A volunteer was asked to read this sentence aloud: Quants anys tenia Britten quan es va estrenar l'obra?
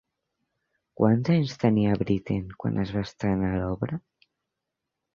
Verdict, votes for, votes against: accepted, 2, 0